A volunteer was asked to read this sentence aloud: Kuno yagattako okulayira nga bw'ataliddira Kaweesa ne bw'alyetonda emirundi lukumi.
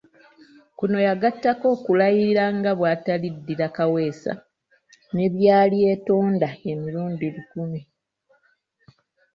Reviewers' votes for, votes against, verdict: 0, 2, rejected